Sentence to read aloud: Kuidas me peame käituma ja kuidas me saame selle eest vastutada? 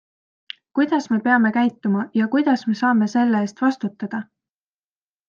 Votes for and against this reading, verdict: 3, 0, accepted